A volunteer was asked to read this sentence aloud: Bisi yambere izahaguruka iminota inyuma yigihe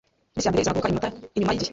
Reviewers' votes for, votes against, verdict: 1, 2, rejected